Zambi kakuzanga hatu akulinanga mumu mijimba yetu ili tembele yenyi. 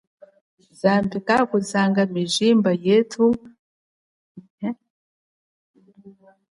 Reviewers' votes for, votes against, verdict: 2, 4, rejected